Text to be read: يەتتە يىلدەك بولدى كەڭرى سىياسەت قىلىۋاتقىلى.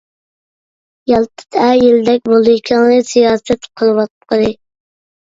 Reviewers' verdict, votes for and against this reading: rejected, 0, 2